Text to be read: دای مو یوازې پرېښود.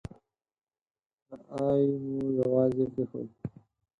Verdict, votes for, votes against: rejected, 2, 4